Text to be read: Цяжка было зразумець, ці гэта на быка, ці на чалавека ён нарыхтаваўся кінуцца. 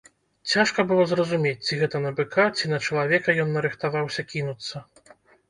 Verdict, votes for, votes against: accepted, 2, 0